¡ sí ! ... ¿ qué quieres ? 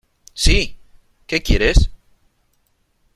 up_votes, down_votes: 3, 0